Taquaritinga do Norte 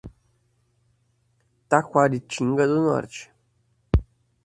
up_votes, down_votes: 4, 0